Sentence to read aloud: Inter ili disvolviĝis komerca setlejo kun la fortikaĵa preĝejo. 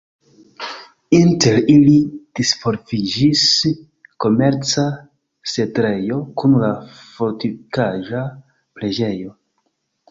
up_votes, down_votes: 0, 2